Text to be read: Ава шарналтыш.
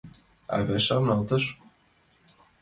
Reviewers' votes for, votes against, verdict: 0, 2, rejected